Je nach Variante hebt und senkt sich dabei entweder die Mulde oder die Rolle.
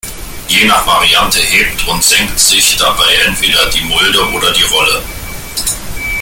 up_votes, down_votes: 0, 2